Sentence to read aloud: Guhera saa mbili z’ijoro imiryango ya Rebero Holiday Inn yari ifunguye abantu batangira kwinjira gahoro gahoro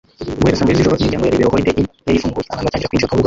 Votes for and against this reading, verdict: 0, 2, rejected